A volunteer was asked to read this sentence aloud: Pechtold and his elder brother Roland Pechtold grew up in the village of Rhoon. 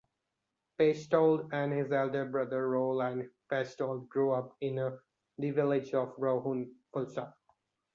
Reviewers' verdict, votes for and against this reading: rejected, 0, 2